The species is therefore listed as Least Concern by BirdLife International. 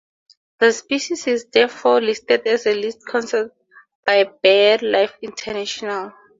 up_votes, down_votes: 2, 2